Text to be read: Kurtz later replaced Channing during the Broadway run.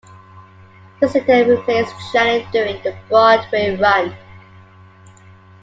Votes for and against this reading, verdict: 0, 2, rejected